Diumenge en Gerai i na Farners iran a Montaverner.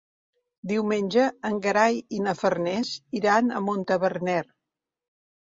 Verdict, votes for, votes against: rejected, 1, 2